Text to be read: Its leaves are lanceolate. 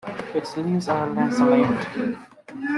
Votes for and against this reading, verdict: 0, 2, rejected